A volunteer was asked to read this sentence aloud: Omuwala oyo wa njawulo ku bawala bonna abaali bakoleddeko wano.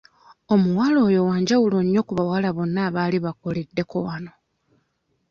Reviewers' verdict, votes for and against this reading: rejected, 0, 2